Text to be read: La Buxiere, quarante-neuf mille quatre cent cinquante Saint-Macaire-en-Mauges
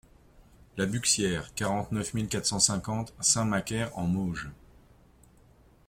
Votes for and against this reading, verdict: 2, 0, accepted